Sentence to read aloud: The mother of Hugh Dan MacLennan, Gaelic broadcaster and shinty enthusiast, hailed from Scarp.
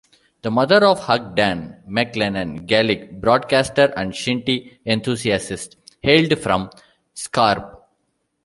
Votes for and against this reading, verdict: 0, 2, rejected